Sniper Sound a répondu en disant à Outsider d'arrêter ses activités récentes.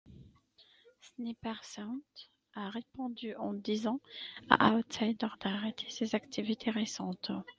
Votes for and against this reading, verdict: 1, 2, rejected